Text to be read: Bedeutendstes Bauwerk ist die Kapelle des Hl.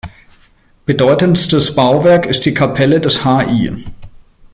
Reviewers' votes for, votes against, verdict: 1, 2, rejected